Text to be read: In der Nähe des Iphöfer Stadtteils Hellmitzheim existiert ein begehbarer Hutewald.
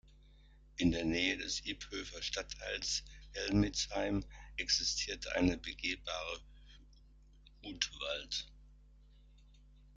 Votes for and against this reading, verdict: 0, 2, rejected